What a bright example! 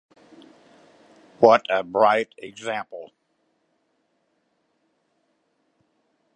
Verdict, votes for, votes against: accepted, 2, 1